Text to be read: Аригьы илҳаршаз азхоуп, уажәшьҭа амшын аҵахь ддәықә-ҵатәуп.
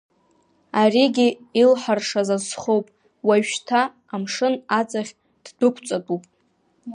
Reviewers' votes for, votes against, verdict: 1, 2, rejected